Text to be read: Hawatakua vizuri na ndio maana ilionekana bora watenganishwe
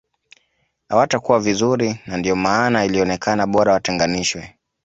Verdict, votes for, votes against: accepted, 2, 0